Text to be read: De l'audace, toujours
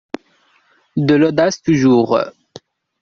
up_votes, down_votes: 2, 1